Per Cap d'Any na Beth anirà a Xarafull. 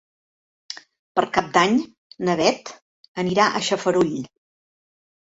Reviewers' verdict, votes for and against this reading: rejected, 0, 2